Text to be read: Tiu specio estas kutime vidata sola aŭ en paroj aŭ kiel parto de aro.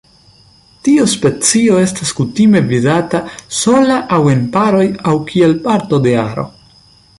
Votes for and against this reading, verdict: 1, 2, rejected